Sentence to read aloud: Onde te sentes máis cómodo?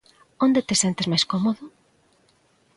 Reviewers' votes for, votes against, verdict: 2, 0, accepted